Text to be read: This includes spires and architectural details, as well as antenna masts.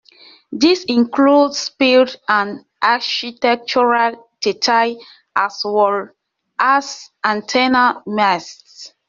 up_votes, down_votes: 0, 2